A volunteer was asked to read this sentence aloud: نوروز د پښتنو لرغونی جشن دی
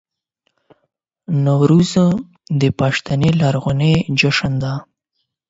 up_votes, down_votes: 4, 8